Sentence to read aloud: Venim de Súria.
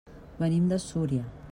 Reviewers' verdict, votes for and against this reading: accepted, 3, 0